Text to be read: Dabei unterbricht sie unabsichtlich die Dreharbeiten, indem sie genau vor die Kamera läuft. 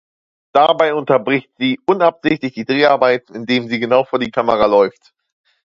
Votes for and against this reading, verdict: 2, 0, accepted